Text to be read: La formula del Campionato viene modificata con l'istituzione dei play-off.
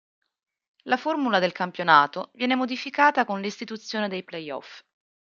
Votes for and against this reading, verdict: 2, 1, accepted